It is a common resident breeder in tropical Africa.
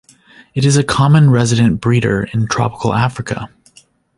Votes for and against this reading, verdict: 2, 1, accepted